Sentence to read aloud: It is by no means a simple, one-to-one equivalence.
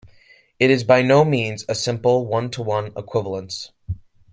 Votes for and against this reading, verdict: 2, 0, accepted